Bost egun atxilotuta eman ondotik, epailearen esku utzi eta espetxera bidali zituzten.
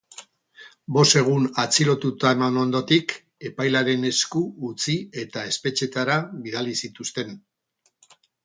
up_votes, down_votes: 0, 4